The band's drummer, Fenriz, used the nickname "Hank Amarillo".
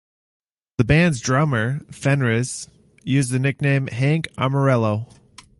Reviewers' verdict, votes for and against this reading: accepted, 2, 0